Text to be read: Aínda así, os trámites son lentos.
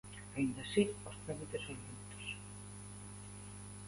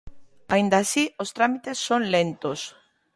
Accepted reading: second